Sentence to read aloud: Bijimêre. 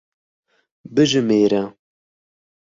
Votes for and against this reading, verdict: 2, 0, accepted